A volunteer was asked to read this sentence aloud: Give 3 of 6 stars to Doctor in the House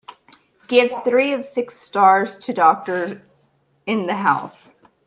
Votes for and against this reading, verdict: 0, 2, rejected